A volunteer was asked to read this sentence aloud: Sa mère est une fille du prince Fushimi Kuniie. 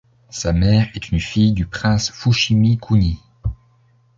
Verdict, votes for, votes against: accepted, 2, 0